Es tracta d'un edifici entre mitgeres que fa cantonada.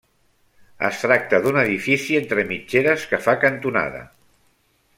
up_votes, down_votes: 3, 1